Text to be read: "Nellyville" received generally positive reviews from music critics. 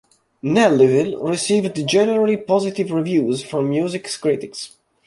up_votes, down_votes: 0, 2